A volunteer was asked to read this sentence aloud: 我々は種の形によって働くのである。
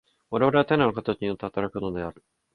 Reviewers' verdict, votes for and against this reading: rejected, 1, 2